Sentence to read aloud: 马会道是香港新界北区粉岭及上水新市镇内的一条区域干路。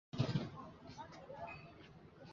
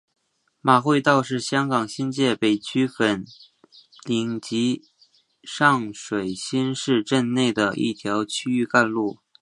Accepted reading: second